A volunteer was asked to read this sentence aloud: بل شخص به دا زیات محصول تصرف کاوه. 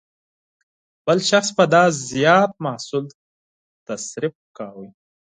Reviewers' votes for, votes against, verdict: 6, 0, accepted